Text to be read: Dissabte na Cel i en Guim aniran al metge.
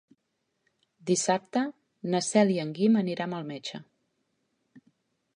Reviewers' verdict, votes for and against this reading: rejected, 1, 2